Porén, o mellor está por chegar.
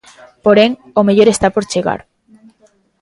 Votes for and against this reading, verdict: 2, 0, accepted